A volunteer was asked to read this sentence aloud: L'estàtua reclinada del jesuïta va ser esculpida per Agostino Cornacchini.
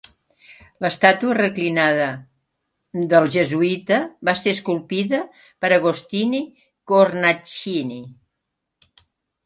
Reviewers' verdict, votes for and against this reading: rejected, 1, 2